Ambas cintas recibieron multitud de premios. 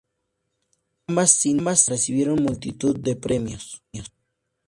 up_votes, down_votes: 2, 0